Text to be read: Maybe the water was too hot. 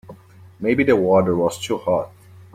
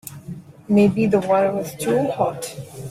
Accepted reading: first